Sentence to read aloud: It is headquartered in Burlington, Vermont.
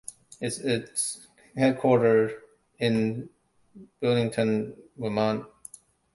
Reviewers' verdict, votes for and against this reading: accepted, 2, 0